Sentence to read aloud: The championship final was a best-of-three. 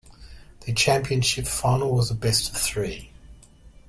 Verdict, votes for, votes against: accepted, 2, 0